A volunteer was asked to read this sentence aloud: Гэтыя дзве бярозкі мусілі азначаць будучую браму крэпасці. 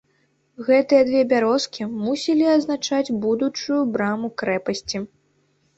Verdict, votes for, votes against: accepted, 2, 1